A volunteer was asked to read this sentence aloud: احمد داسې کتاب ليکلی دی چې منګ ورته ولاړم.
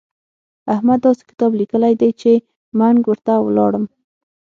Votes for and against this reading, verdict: 6, 0, accepted